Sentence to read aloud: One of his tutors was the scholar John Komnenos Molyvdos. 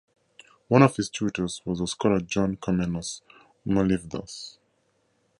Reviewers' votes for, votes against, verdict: 2, 0, accepted